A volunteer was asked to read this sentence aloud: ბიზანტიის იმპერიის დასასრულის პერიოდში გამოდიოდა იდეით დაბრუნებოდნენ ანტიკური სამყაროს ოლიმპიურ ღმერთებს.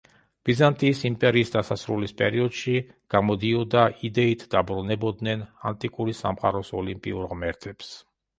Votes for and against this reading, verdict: 2, 0, accepted